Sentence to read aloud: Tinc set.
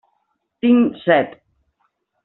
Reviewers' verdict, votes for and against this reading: accepted, 3, 0